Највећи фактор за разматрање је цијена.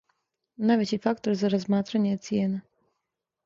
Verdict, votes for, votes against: accepted, 2, 0